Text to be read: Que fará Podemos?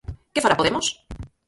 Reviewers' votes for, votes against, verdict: 0, 4, rejected